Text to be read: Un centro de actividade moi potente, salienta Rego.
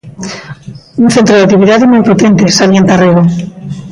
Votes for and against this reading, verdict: 1, 2, rejected